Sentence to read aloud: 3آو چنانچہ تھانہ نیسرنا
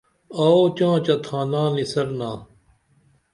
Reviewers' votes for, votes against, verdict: 0, 2, rejected